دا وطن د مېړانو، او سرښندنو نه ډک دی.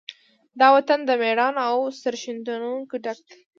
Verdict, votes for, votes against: rejected, 0, 2